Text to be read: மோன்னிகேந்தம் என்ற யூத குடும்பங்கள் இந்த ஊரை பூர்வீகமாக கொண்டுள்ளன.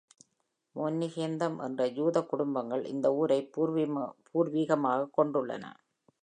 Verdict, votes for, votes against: rejected, 0, 2